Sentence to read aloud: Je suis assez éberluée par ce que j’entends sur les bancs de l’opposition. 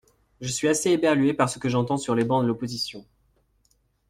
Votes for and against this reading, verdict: 2, 0, accepted